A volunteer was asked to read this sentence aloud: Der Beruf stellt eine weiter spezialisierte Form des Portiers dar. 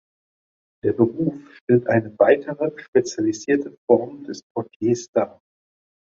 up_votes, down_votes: 1, 2